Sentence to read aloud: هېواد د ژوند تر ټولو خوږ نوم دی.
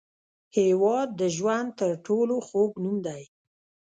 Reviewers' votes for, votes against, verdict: 0, 2, rejected